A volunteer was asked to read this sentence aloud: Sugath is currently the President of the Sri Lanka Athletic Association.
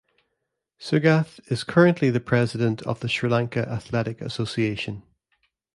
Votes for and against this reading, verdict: 2, 0, accepted